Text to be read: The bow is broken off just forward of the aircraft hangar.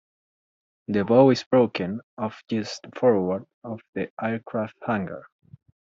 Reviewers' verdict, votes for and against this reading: rejected, 1, 2